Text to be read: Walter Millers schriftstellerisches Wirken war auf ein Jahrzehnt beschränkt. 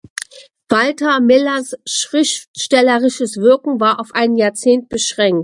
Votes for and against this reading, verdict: 2, 0, accepted